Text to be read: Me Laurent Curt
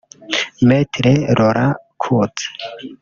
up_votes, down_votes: 1, 2